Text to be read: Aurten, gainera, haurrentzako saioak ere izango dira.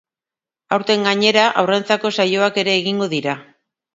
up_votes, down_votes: 2, 1